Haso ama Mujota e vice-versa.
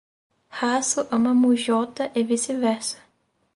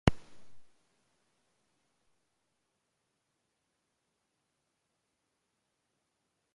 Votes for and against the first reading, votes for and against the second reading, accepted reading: 4, 0, 0, 2, first